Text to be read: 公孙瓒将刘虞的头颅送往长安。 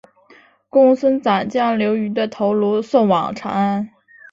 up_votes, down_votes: 2, 0